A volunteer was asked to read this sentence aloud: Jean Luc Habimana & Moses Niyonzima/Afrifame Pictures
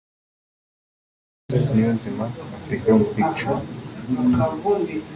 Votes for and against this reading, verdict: 0, 3, rejected